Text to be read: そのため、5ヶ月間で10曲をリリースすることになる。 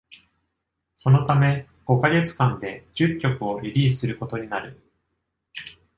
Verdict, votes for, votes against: rejected, 0, 2